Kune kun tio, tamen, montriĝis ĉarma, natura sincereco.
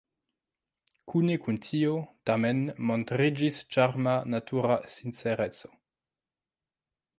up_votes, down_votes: 2, 1